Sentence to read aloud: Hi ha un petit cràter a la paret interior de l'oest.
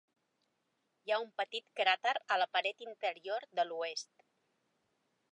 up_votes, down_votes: 3, 0